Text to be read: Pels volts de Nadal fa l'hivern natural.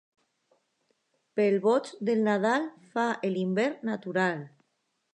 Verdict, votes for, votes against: rejected, 1, 2